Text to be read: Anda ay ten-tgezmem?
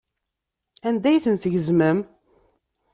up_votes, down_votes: 2, 0